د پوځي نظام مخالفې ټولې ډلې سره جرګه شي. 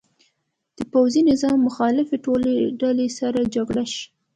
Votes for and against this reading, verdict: 2, 0, accepted